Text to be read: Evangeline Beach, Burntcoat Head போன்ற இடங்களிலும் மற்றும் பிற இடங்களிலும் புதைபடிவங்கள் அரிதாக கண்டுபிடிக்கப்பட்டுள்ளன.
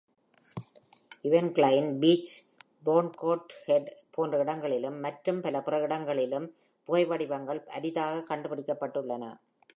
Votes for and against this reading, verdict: 1, 2, rejected